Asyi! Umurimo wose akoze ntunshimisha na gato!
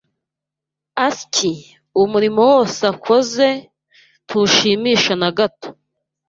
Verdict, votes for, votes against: rejected, 0, 2